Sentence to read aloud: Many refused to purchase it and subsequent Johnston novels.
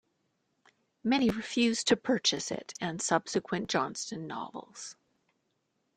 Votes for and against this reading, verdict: 2, 0, accepted